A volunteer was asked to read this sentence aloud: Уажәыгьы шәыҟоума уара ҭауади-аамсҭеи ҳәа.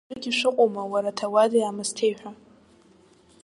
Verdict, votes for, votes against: rejected, 0, 2